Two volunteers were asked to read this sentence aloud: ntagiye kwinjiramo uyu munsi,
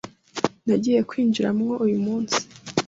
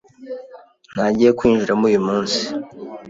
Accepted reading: second